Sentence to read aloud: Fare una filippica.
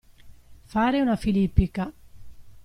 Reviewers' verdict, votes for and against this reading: accepted, 2, 0